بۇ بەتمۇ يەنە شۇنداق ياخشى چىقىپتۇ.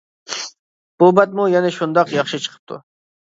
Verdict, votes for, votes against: accepted, 2, 0